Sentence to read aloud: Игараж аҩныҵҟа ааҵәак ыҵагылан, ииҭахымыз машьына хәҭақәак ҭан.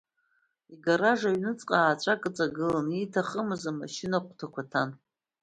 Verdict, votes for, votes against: accepted, 2, 0